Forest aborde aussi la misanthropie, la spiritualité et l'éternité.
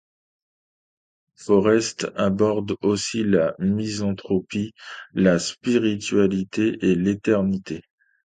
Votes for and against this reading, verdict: 2, 0, accepted